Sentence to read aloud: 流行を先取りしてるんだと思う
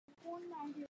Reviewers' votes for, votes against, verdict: 0, 2, rejected